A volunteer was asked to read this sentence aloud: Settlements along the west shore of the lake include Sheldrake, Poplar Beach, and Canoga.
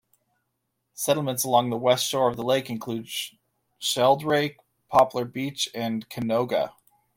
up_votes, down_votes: 2, 0